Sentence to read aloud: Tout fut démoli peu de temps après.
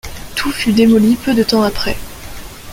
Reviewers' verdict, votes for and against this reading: accepted, 2, 0